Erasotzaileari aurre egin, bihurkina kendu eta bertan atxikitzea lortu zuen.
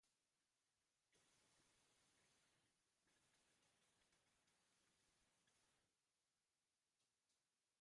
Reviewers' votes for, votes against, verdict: 0, 2, rejected